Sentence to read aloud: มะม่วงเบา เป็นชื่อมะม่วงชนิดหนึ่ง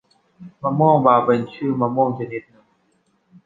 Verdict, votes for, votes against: rejected, 1, 2